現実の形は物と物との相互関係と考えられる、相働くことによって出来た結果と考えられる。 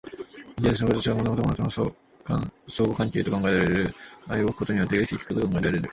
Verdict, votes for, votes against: rejected, 0, 2